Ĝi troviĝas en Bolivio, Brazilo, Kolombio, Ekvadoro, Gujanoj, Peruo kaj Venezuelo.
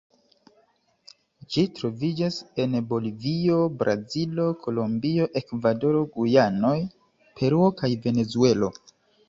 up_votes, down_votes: 3, 1